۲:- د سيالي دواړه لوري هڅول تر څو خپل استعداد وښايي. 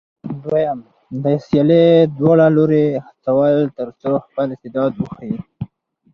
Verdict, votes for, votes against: rejected, 0, 2